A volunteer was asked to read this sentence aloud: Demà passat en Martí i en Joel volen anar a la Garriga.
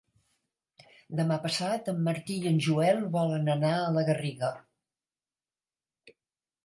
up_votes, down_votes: 3, 0